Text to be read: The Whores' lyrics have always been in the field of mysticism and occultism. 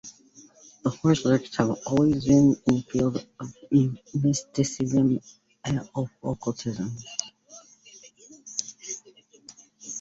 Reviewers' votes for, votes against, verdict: 0, 2, rejected